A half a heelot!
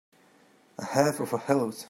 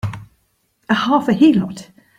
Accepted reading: second